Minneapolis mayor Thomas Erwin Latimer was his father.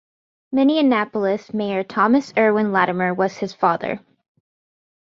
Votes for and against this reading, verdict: 1, 2, rejected